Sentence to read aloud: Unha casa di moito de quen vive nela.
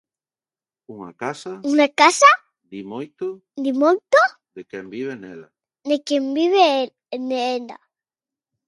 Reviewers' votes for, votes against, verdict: 0, 2, rejected